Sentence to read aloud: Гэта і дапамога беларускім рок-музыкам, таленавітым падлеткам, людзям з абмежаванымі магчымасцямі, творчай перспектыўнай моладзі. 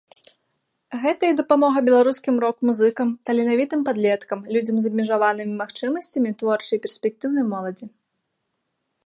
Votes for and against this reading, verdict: 2, 0, accepted